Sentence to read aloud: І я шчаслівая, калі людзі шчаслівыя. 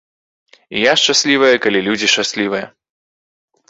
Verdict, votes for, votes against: accepted, 3, 0